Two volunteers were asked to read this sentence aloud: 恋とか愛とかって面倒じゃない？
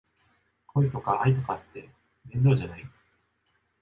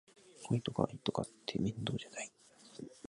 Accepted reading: first